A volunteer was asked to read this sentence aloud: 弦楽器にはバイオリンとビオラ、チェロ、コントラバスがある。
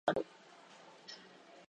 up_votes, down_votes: 0, 2